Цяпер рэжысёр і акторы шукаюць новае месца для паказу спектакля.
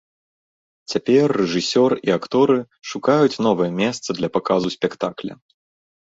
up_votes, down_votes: 2, 0